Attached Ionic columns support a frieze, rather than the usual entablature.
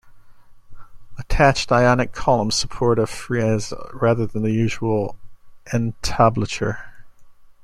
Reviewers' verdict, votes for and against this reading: rejected, 0, 2